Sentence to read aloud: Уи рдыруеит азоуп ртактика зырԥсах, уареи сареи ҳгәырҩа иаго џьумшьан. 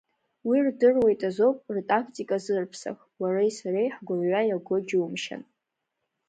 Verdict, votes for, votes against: accepted, 2, 1